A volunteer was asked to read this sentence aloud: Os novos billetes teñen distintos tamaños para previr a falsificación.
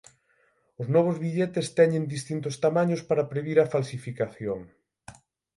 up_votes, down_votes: 18, 0